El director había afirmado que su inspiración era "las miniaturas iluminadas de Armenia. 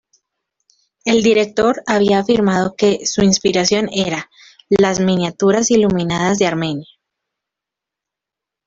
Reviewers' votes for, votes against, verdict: 2, 0, accepted